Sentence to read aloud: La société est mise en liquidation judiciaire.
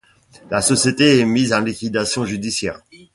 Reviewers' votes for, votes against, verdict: 2, 0, accepted